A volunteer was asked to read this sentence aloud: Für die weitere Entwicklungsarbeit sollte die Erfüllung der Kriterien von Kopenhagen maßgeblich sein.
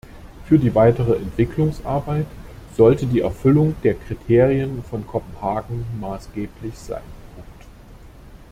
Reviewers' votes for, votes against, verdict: 0, 2, rejected